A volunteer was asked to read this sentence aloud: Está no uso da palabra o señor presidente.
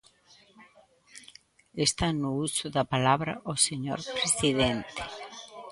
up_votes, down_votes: 0, 2